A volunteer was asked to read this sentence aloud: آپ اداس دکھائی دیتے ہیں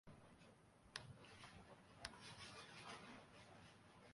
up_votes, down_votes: 0, 2